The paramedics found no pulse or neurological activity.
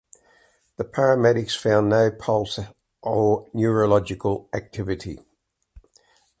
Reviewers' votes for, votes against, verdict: 3, 0, accepted